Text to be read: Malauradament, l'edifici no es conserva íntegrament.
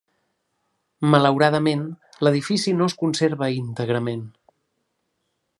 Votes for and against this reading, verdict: 3, 0, accepted